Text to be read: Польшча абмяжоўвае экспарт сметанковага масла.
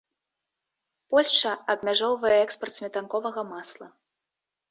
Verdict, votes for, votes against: accepted, 2, 0